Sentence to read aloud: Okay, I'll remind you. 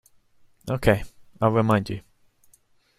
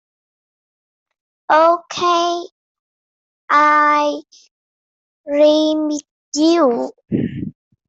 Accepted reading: first